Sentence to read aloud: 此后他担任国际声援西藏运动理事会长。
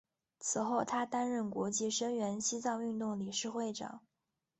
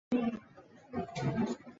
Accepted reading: first